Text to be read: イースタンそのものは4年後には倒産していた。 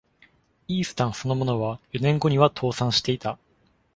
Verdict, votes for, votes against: rejected, 0, 2